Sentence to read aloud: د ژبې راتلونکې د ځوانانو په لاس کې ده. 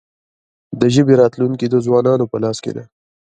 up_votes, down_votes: 0, 2